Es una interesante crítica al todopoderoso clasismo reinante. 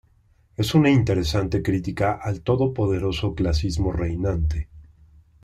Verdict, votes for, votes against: accepted, 2, 0